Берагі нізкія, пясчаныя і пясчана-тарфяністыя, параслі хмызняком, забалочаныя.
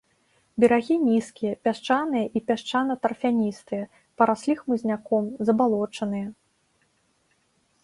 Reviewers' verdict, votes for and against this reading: accepted, 2, 0